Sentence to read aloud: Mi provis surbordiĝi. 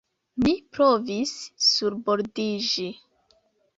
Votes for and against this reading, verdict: 2, 0, accepted